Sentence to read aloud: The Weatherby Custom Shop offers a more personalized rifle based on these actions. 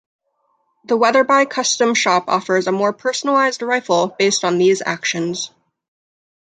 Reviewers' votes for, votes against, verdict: 2, 0, accepted